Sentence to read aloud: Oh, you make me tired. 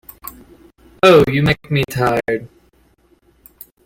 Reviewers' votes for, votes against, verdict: 2, 0, accepted